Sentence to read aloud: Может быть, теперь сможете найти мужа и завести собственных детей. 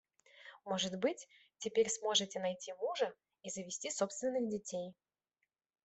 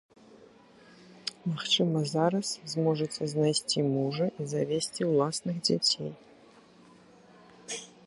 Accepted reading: first